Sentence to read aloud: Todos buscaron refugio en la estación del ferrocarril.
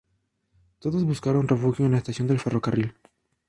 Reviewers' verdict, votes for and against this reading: accepted, 2, 0